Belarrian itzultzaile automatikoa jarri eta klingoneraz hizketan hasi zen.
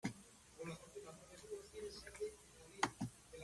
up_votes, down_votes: 0, 2